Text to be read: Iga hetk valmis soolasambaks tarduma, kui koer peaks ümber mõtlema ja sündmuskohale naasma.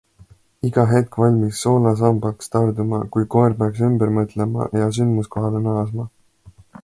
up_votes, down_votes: 2, 0